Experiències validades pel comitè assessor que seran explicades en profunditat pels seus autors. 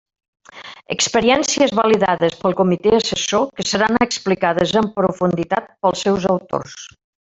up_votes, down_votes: 2, 1